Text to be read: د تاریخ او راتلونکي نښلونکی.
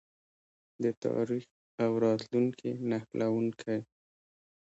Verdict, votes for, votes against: accepted, 2, 1